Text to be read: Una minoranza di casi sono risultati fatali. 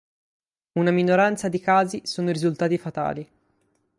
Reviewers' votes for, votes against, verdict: 6, 0, accepted